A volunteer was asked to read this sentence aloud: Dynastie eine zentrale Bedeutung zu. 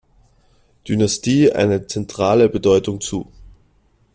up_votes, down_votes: 2, 0